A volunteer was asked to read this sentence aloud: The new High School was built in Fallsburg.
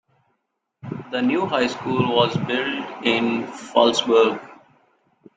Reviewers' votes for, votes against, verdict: 2, 1, accepted